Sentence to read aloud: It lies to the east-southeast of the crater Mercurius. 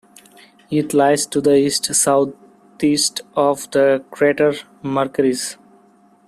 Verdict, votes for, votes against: rejected, 0, 2